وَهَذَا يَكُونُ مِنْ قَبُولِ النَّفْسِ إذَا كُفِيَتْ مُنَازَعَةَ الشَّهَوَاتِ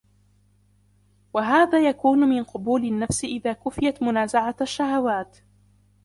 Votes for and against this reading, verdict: 1, 2, rejected